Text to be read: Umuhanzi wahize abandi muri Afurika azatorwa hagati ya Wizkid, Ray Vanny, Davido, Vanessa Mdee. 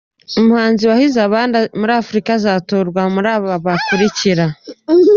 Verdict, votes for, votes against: rejected, 0, 2